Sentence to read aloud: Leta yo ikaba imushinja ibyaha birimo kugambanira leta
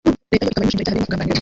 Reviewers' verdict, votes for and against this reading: rejected, 0, 2